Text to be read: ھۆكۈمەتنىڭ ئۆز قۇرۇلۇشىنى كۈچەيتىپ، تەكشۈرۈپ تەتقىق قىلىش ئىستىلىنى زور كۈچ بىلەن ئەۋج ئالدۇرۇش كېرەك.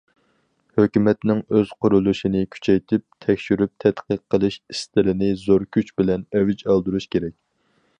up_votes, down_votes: 4, 0